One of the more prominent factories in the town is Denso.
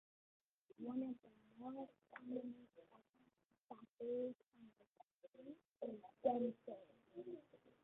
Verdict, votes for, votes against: rejected, 0, 2